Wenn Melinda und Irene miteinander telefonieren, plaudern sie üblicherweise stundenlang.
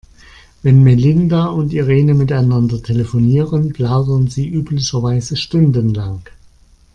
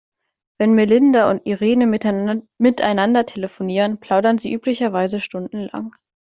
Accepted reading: first